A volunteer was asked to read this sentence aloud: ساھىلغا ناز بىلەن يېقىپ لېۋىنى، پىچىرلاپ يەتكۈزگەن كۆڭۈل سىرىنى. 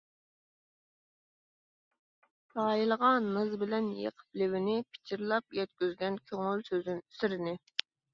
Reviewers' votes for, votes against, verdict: 0, 2, rejected